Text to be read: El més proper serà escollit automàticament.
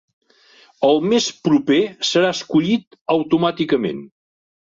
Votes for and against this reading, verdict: 6, 0, accepted